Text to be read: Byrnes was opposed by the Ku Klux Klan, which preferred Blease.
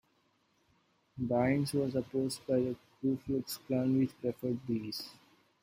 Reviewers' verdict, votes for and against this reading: accepted, 2, 0